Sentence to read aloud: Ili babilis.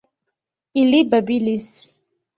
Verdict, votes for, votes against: accepted, 2, 0